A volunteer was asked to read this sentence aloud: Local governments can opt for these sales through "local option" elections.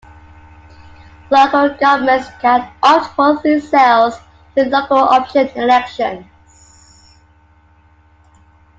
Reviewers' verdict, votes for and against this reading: accepted, 2, 1